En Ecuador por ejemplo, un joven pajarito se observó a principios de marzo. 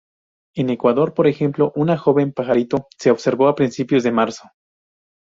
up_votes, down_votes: 0, 2